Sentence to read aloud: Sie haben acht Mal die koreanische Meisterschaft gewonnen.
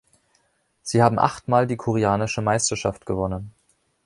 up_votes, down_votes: 2, 0